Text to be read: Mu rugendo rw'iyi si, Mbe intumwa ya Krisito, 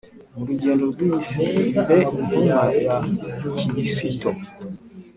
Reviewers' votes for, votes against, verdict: 2, 0, accepted